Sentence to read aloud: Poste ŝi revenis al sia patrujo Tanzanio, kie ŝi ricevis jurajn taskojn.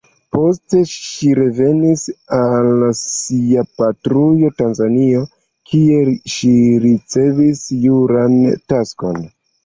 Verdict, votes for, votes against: rejected, 1, 2